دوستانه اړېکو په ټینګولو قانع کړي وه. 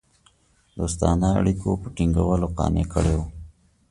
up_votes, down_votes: 2, 0